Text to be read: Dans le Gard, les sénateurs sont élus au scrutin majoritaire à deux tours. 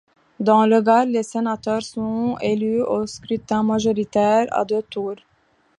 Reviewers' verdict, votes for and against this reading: rejected, 0, 2